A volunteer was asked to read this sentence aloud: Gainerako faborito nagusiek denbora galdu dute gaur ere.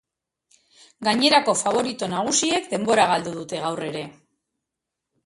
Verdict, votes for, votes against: accepted, 3, 0